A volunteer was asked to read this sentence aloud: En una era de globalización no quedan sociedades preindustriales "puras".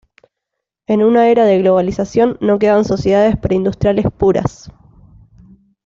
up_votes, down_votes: 2, 0